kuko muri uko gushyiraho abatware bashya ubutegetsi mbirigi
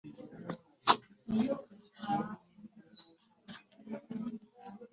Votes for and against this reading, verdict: 0, 3, rejected